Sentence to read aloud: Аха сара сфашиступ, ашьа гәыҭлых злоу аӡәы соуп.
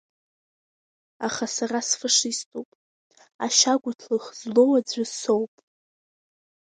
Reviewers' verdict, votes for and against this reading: accepted, 2, 0